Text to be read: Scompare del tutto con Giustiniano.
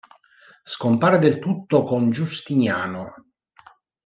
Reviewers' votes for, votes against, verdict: 2, 0, accepted